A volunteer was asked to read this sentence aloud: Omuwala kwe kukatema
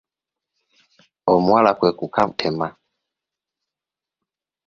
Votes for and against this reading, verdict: 0, 2, rejected